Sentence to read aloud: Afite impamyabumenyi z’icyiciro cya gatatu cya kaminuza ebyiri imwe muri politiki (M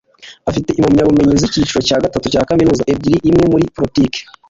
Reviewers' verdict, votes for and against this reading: rejected, 0, 2